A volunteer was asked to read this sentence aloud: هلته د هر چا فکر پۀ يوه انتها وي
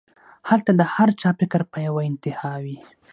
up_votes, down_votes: 6, 3